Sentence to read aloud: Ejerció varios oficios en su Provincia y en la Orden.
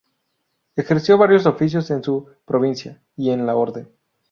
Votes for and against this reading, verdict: 2, 0, accepted